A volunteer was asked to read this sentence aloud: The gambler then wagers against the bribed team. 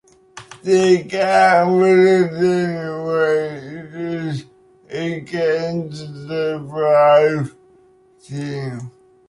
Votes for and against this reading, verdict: 1, 2, rejected